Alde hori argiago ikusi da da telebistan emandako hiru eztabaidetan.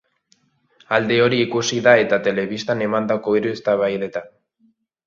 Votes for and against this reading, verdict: 1, 2, rejected